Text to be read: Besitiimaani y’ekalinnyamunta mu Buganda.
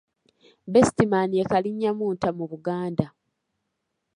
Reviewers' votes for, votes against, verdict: 2, 0, accepted